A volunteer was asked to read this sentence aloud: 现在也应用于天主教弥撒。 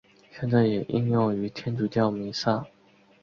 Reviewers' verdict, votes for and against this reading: accepted, 2, 0